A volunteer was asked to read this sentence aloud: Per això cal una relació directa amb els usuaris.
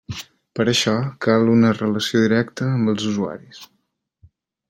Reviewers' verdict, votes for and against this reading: accepted, 3, 0